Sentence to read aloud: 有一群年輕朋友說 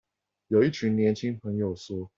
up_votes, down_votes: 4, 0